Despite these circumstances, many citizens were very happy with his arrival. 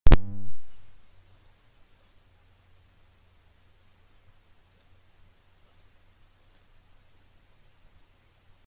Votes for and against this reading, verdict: 0, 2, rejected